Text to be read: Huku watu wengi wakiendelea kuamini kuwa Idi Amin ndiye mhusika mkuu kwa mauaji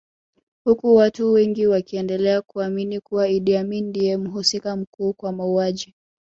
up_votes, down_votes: 3, 2